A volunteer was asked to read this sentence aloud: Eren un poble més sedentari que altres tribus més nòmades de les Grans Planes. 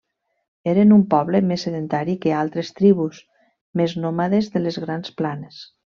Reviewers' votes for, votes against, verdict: 3, 1, accepted